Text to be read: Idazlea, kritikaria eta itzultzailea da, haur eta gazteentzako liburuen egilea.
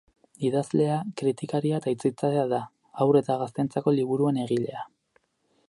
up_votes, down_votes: 0, 2